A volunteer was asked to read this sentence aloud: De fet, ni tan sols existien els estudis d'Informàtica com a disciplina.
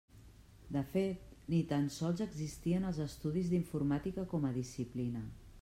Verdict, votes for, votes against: accepted, 3, 0